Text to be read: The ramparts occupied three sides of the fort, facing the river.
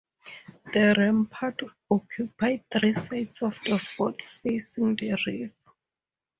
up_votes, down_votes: 0, 2